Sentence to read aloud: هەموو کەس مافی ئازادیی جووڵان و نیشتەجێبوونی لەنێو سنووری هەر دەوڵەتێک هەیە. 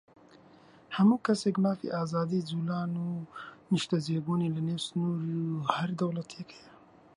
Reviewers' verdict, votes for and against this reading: rejected, 1, 2